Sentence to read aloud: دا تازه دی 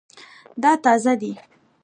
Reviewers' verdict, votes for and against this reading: rejected, 0, 2